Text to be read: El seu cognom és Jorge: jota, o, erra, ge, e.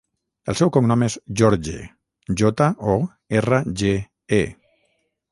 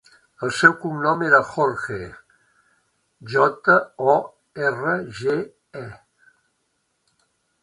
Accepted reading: second